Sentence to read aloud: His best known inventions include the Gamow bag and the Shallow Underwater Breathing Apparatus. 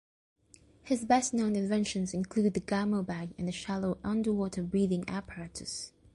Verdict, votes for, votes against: rejected, 1, 2